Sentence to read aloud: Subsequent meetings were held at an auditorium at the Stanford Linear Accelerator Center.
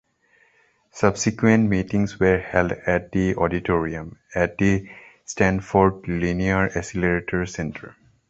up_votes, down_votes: 1, 2